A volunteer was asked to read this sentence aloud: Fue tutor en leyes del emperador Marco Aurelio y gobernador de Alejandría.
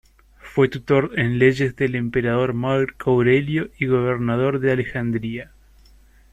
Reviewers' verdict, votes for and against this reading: rejected, 1, 2